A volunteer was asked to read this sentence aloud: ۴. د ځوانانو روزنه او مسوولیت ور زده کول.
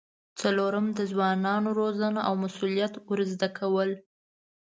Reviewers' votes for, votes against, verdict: 0, 2, rejected